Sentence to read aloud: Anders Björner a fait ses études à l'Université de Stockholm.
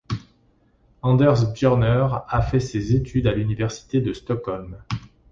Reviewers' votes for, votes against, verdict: 2, 0, accepted